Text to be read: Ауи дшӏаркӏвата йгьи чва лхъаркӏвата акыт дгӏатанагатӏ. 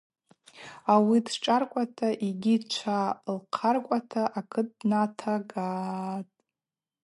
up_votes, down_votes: 0, 4